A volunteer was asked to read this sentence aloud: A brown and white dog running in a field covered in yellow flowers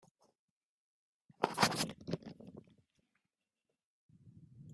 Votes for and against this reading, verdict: 0, 2, rejected